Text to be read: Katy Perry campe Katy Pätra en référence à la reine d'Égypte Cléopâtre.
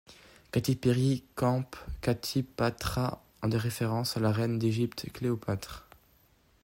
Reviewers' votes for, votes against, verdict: 2, 1, accepted